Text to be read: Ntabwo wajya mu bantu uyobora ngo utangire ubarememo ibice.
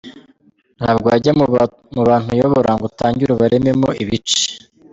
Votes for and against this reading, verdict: 2, 0, accepted